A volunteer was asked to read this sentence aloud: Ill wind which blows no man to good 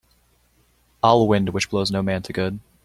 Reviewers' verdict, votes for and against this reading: rejected, 1, 2